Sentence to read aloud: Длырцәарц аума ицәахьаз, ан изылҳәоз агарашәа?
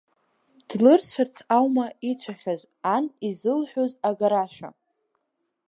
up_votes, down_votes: 3, 4